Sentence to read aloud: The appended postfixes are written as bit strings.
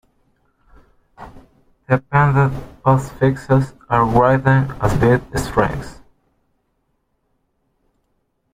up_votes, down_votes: 1, 2